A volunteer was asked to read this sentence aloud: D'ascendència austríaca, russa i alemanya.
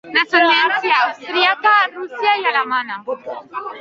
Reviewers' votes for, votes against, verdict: 0, 2, rejected